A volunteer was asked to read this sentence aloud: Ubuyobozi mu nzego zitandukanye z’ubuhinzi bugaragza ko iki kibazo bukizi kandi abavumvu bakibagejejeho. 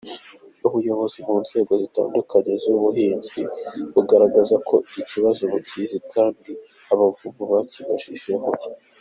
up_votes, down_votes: 2, 0